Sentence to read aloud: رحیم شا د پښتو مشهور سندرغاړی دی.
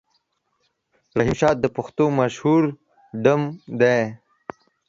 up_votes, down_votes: 0, 2